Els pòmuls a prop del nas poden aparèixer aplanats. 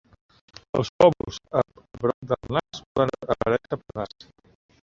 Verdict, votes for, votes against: rejected, 1, 2